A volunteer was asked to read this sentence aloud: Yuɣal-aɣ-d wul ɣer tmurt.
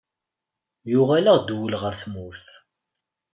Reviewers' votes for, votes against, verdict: 2, 0, accepted